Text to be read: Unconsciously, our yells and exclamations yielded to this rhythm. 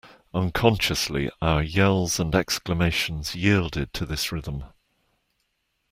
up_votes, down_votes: 2, 0